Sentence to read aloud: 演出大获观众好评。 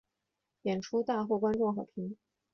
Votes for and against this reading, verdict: 2, 0, accepted